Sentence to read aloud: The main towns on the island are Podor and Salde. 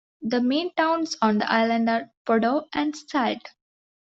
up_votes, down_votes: 2, 0